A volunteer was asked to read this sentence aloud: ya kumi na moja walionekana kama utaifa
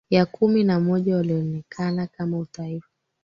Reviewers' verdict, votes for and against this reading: rejected, 2, 3